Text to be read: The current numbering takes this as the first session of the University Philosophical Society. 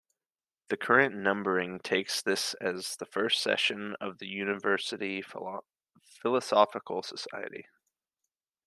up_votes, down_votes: 0, 2